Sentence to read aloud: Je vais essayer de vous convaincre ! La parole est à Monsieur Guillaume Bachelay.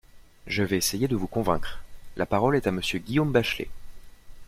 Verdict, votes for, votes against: accepted, 2, 0